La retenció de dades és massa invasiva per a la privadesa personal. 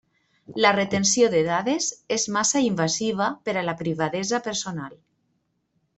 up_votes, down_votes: 3, 0